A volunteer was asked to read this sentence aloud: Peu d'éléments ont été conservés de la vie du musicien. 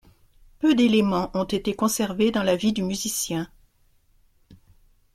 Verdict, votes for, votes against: rejected, 0, 2